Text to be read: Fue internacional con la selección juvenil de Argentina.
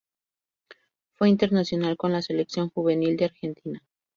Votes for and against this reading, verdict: 2, 0, accepted